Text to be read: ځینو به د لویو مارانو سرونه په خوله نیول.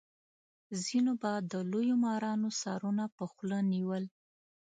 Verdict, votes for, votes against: accepted, 2, 0